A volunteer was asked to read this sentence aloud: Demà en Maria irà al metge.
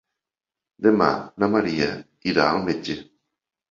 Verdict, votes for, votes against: rejected, 0, 3